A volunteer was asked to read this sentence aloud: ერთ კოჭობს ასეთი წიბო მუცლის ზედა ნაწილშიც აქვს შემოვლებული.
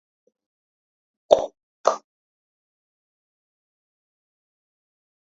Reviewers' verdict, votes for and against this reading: rejected, 0, 2